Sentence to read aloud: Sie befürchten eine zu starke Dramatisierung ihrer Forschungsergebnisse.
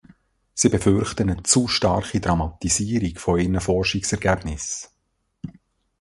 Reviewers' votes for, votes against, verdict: 2, 1, accepted